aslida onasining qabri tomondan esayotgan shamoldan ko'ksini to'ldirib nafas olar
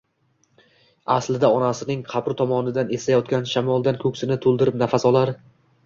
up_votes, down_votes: 1, 2